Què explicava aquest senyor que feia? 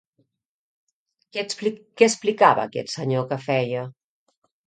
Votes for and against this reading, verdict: 0, 2, rejected